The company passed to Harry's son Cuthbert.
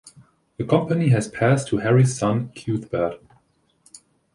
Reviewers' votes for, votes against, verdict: 0, 2, rejected